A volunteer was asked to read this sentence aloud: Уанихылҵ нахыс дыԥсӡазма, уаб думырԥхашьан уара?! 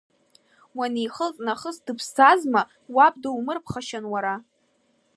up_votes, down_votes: 2, 0